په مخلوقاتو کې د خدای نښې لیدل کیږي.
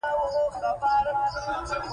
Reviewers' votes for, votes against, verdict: 1, 2, rejected